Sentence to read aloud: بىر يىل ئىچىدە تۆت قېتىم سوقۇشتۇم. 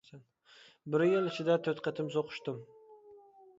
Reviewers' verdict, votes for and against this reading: accepted, 2, 0